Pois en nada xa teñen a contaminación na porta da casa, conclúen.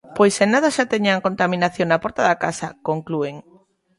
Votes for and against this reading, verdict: 2, 0, accepted